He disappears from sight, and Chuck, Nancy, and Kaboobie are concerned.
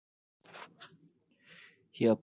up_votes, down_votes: 0, 2